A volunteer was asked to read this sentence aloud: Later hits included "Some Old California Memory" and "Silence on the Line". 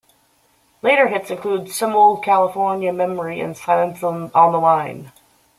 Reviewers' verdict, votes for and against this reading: rejected, 1, 2